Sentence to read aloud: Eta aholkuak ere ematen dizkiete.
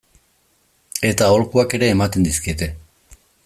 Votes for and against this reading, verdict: 2, 0, accepted